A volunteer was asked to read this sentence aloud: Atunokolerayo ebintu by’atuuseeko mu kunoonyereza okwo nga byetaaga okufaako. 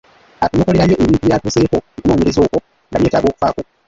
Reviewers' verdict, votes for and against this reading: rejected, 0, 2